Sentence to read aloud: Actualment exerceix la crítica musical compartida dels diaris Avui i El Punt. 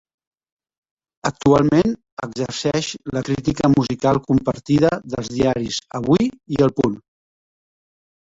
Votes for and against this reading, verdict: 1, 2, rejected